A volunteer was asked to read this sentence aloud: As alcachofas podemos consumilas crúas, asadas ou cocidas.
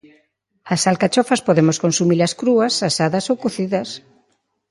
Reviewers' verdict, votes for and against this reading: accepted, 2, 0